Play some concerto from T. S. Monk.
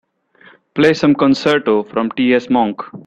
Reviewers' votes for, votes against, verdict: 2, 0, accepted